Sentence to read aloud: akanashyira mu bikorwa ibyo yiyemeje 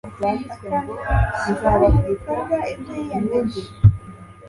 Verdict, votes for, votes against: accepted, 2, 0